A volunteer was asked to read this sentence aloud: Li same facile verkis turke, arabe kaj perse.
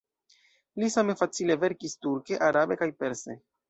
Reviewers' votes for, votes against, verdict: 2, 1, accepted